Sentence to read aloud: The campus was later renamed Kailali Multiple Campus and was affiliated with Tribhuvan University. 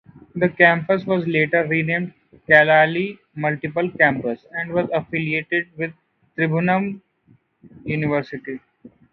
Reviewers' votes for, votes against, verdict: 0, 2, rejected